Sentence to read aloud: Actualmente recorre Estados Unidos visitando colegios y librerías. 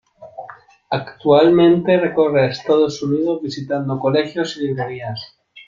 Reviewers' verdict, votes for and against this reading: accepted, 2, 0